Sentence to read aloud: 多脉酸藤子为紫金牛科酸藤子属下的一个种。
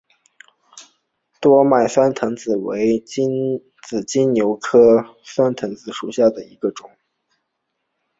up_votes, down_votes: 3, 0